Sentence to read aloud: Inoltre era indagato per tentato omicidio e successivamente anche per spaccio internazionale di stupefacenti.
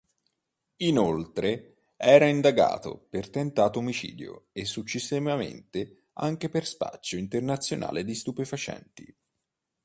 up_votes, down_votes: 1, 2